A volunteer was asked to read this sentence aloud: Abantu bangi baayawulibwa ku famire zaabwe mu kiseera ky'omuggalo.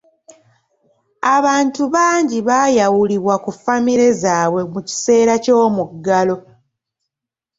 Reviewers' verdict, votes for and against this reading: rejected, 1, 2